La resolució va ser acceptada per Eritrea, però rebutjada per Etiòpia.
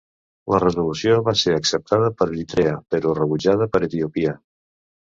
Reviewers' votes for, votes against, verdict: 1, 2, rejected